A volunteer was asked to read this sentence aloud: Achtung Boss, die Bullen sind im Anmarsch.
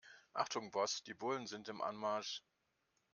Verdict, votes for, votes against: accepted, 2, 0